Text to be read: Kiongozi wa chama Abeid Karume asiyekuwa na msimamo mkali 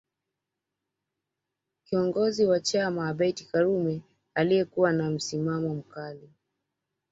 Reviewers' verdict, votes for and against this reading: rejected, 0, 2